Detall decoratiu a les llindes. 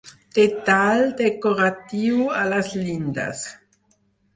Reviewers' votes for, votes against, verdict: 4, 0, accepted